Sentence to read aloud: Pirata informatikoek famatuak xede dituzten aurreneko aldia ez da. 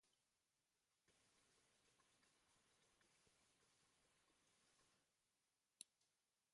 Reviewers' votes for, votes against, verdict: 0, 2, rejected